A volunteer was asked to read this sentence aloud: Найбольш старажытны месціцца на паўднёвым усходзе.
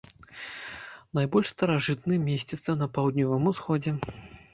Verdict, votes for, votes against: accepted, 2, 0